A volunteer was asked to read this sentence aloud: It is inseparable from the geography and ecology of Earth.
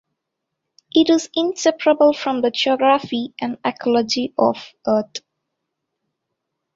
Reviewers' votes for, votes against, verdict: 0, 2, rejected